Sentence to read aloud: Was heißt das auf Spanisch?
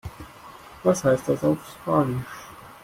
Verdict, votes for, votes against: rejected, 1, 2